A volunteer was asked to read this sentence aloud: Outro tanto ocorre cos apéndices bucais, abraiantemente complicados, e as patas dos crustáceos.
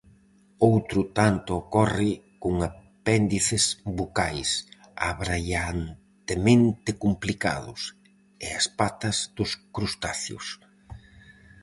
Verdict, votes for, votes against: rejected, 0, 4